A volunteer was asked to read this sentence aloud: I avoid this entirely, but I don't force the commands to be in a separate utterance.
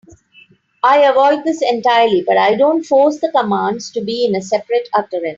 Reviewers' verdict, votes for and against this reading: accepted, 2, 0